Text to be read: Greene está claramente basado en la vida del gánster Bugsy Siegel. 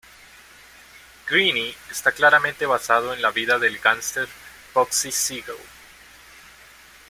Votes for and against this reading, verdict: 2, 0, accepted